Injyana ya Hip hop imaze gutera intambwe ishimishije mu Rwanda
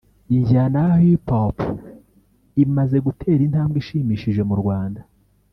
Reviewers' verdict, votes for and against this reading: rejected, 1, 2